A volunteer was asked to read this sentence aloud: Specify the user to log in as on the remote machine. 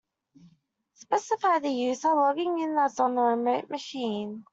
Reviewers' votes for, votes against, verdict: 0, 2, rejected